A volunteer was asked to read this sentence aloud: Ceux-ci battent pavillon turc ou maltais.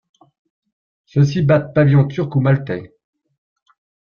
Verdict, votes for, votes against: accepted, 2, 0